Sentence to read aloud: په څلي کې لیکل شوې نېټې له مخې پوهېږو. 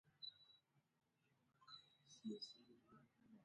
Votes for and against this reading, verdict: 1, 2, rejected